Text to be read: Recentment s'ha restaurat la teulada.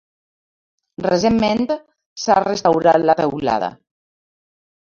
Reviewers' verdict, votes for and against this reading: rejected, 0, 2